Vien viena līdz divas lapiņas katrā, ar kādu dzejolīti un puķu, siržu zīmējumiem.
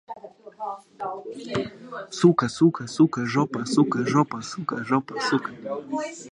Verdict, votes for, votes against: rejected, 0, 2